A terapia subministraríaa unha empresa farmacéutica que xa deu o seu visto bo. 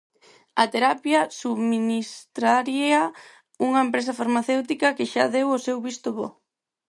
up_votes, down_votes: 4, 0